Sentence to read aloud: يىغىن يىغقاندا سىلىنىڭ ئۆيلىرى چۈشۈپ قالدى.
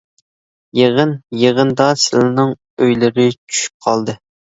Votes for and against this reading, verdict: 0, 2, rejected